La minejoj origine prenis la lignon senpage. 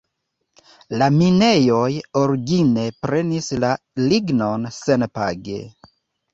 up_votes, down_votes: 2, 0